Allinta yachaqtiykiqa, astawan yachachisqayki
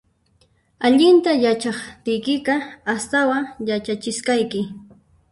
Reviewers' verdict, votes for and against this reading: rejected, 0, 2